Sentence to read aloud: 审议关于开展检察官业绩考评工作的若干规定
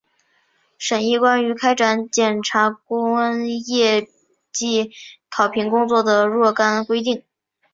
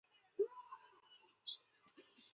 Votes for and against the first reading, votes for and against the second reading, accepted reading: 2, 0, 1, 2, first